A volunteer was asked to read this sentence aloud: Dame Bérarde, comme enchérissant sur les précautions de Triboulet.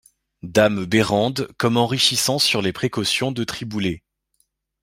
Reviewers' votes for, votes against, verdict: 0, 2, rejected